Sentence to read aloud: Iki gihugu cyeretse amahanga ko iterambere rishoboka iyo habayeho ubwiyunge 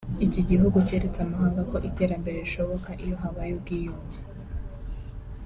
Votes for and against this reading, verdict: 4, 0, accepted